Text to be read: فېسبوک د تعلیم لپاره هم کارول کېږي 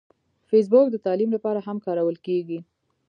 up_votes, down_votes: 2, 0